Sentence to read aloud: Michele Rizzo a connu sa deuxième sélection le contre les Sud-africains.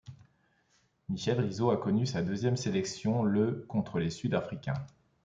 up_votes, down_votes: 2, 0